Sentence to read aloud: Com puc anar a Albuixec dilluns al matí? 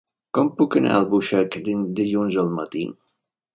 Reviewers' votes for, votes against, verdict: 0, 2, rejected